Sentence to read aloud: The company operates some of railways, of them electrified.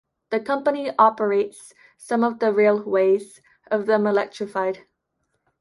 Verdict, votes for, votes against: rejected, 0, 2